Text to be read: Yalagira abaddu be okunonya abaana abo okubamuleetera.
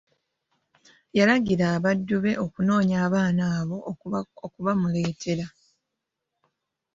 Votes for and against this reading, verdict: 1, 2, rejected